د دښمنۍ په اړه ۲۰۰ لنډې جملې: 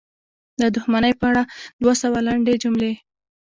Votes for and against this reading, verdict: 0, 2, rejected